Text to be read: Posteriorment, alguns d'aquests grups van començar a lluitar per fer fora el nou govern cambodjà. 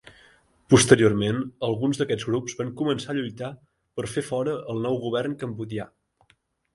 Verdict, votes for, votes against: accepted, 2, 1